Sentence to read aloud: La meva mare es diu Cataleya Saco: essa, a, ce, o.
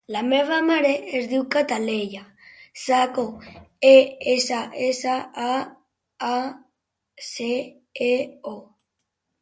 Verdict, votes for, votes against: rejected, 0, 2